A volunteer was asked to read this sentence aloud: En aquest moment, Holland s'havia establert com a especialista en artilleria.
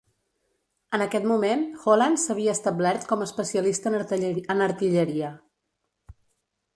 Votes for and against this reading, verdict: 0, 2, rejected